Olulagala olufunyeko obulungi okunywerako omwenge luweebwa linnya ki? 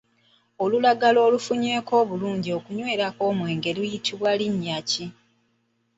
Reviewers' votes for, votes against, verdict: 0, 2, rejected